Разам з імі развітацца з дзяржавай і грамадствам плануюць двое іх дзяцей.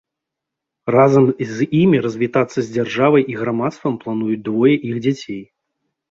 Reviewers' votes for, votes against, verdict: 2, 0, accepted